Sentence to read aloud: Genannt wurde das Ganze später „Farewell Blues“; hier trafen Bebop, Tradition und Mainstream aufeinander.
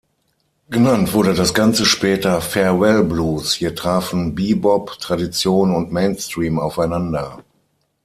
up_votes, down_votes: 6, 0